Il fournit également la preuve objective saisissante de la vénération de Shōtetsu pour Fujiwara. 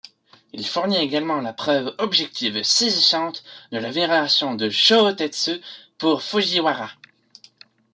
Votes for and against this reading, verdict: 1, 2, rejected